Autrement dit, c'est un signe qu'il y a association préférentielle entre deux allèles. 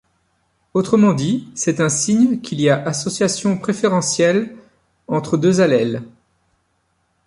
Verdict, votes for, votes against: accepted, 2, 0